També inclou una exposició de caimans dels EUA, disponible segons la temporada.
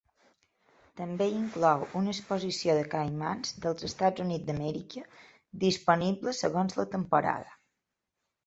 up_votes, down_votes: 1, 2